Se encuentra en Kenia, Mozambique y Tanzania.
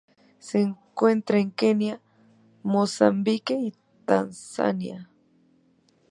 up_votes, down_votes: 3, 0